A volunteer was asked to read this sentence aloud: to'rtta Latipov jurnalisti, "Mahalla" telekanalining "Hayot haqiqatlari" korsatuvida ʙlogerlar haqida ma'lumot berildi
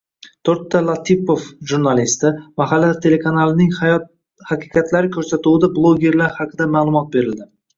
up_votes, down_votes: 1, 2